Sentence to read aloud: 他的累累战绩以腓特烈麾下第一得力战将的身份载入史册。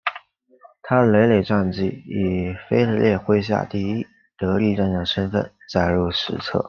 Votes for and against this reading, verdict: 2, 0, accepted